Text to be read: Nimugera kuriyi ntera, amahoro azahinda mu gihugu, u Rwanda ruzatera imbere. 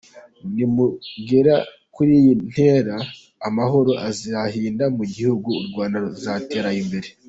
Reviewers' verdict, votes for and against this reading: rejected, 1, 2